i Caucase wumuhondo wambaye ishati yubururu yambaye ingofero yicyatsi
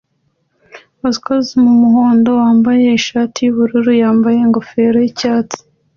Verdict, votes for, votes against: accepted, 2, 0